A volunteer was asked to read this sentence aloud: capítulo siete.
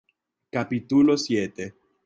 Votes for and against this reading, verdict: 2, 1, accepted